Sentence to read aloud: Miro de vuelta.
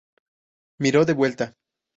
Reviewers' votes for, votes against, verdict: 2, 0, accepted